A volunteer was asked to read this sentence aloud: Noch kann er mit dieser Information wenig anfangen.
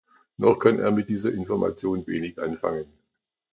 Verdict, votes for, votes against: accepted, 2, 1